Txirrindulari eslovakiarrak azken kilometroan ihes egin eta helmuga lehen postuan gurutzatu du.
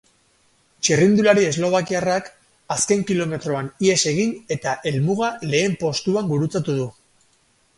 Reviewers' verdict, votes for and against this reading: rejected, 2, 2